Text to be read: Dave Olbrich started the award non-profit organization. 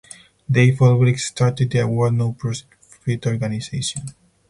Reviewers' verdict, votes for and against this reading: rejected, 2, 4